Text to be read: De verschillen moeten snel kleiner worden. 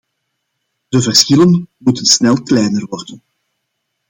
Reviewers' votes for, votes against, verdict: 2, 0, accepted